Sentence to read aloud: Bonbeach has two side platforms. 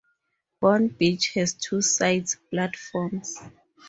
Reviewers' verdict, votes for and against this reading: rejected, 0, 2